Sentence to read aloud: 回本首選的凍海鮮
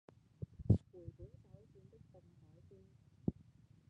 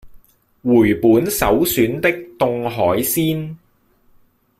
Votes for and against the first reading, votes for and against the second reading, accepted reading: 0, 2, 2, 0, second